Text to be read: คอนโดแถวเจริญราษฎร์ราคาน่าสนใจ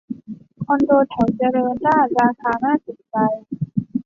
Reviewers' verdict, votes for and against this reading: rejected, 1, 2